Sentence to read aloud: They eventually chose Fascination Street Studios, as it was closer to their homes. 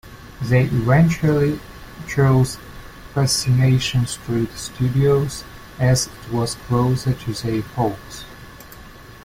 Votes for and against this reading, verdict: 1, 2, rejected